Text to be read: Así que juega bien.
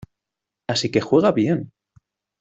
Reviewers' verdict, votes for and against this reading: accepted, 2, 0